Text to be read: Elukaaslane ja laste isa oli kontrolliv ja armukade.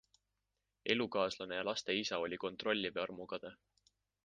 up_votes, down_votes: 2, 0